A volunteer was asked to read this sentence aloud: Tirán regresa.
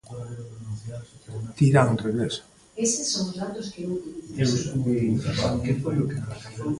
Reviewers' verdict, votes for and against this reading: rejected, 0, 2